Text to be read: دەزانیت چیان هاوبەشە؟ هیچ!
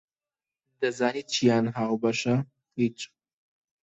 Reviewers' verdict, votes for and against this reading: accepted, 2, 0